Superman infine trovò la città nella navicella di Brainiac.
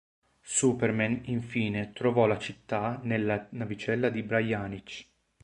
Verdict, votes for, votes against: rejected, 1, 2